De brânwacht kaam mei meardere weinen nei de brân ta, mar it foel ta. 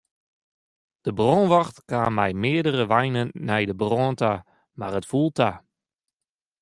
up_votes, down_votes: 0, 2